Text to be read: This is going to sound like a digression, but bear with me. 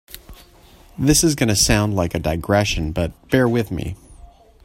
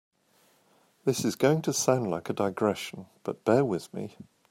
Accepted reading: second